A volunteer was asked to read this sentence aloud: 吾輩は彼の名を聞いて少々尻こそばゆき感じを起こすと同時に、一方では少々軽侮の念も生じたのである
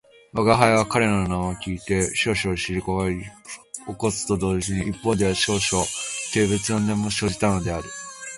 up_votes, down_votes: 0, 2